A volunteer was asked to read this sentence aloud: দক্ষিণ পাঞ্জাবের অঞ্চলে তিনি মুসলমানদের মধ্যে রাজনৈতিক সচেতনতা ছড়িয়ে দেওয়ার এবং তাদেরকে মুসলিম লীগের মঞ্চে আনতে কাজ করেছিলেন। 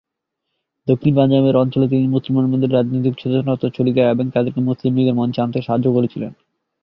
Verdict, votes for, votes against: rejected, 0, 4